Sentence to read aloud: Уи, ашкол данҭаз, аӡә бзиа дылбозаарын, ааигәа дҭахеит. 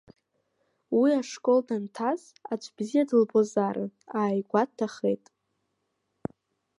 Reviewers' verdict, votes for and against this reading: accepted, 2, 0